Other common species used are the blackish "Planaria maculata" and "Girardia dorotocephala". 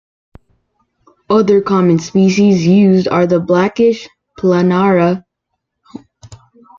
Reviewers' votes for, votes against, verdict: 0, 2, rejected